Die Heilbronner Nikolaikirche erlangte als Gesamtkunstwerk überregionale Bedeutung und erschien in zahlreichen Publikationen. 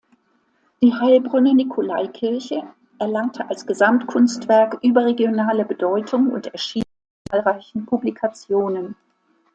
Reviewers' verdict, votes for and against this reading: rejected, 0, 2